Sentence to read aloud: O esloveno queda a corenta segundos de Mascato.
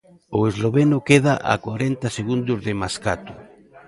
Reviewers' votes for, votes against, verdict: 2, 0, accepted